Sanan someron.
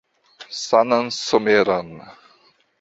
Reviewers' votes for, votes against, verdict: 2, 1, accepted